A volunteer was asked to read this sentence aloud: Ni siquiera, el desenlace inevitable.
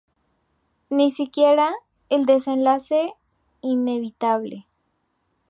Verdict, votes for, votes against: accepted, 4, 0